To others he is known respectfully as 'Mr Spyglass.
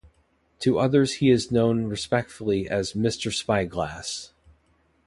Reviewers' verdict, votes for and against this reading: accepted, 2, 0